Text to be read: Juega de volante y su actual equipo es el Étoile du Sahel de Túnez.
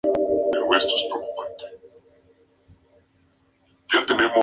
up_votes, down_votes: 0, 2